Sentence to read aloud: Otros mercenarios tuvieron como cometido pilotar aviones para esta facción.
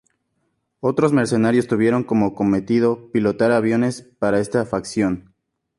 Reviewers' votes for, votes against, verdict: 2, 0, accepted